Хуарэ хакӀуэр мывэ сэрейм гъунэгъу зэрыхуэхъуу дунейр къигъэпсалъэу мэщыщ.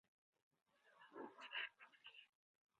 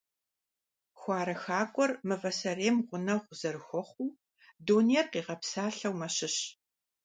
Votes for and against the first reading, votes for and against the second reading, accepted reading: 2, 4, 2, 0, second